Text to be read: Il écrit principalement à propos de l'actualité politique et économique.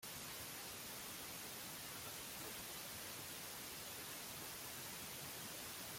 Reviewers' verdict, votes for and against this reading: rejected, 0, 2